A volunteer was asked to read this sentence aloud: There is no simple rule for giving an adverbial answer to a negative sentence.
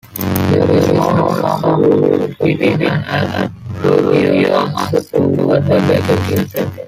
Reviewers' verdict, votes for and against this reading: rejected, 1, 2